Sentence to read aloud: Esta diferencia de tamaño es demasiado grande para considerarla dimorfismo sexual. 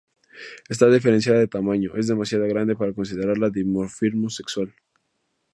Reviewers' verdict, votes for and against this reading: rejected, 2, 2